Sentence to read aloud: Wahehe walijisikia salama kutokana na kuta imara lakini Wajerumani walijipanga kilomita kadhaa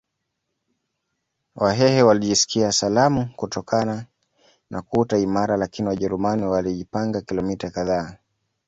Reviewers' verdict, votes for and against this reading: rejected, 1, 2